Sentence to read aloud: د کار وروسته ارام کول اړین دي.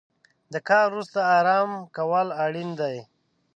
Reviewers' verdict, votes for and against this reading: rejected, 1, 2